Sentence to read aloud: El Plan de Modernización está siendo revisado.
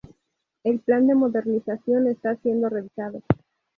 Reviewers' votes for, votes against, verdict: 2, 0, accepted